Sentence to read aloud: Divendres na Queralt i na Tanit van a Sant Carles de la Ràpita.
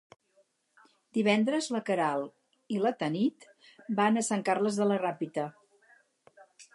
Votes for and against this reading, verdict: 2, 2, rejected